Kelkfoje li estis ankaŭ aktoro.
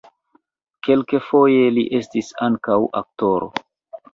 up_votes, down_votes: 1, 2